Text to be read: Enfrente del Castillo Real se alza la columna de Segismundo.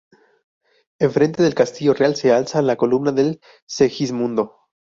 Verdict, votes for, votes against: rejected, 2, 2